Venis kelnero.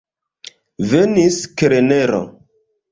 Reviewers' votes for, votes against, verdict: 2, 0, accepted